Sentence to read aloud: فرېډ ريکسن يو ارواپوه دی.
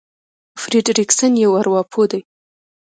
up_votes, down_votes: 1, 2